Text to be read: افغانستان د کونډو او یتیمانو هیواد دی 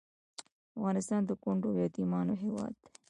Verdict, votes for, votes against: accepted, 2, 0